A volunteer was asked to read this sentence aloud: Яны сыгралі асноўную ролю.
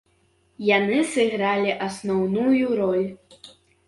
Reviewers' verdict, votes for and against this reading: rejected, 0, 2